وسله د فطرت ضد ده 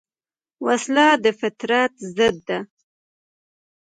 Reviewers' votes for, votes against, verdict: 2, 1, accepted